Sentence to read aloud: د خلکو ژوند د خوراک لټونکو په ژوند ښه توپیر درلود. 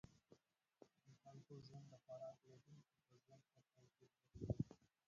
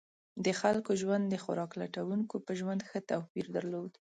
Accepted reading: second